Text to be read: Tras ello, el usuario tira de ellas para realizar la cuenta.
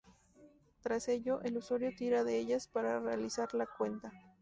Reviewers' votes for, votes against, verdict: 2, 0, accepted